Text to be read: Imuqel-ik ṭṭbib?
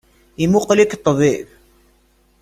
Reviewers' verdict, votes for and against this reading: accepted, 2, 0